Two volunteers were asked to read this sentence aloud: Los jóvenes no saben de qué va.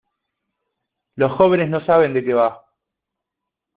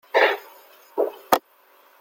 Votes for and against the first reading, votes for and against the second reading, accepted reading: 2, 0, 0, 2, first